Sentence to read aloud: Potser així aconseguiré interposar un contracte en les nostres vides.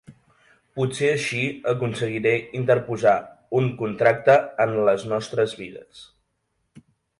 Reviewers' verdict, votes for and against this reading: accepted, 2, 0